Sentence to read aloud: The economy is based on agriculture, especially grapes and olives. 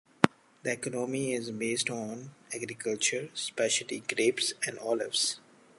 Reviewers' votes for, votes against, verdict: 1, 2, rejected